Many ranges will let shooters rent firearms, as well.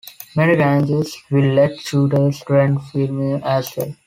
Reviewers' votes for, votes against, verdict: 1, 2, rejected